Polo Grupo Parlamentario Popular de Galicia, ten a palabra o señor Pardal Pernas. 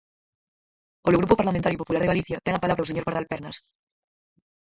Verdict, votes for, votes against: rejected, 0, 4